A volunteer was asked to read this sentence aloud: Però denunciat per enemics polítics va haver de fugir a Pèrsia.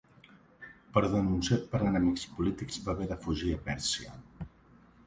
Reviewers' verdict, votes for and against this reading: accepted, 2, 1